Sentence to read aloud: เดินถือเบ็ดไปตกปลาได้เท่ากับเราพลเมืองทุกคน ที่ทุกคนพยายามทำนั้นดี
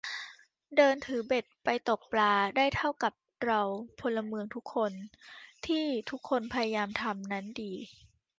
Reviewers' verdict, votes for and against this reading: accepted, 3, 0